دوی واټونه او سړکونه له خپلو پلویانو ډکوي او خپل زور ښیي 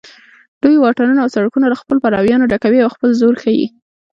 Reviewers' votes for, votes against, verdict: 2, 0, accepted